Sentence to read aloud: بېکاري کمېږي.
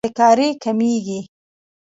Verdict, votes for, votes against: accepted, 2, 1